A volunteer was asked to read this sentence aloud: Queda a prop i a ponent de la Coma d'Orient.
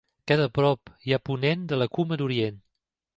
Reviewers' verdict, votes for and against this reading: rejected, 1, 2